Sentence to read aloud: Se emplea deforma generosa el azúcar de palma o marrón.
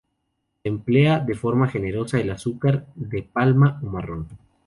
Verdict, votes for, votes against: rejected, 0, 2